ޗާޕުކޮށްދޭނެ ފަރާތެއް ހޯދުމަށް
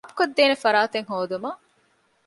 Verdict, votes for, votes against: rejected, 1, 2